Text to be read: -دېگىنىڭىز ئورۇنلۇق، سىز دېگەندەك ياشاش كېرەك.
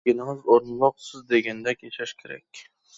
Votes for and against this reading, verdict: 0, 2, rejected